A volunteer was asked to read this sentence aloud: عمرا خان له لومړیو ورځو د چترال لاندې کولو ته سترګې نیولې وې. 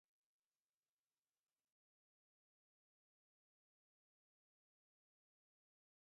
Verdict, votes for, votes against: rejected, 0, 2